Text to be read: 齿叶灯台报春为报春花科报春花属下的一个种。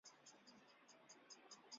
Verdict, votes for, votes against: rejected, 0, 2